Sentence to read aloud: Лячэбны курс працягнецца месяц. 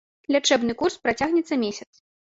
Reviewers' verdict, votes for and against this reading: accepted, 2, 0